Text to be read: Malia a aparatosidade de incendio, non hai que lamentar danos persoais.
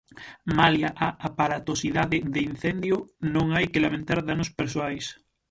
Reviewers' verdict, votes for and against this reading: rejected, 3, 6